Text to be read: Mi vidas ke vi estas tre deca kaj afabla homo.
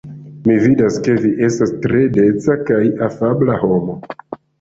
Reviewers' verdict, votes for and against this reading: accepted, 2, 0